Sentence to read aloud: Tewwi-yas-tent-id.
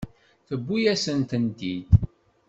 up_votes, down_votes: 1, 2